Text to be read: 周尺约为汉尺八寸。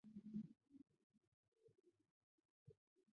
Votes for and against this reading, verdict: 1, 4, rejected